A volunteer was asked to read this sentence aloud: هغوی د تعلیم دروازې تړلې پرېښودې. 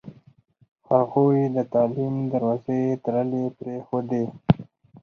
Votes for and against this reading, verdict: 2, 4, rejected